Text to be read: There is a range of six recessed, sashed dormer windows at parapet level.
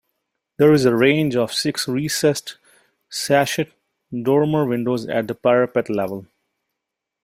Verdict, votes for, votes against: rejected, 0, 2